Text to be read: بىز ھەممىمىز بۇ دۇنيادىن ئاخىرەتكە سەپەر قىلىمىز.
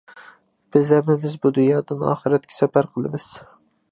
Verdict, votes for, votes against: accepted, 2, 0